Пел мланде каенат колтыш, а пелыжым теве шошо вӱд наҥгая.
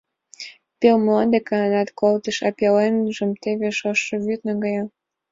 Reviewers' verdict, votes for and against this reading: rejected, 1, 2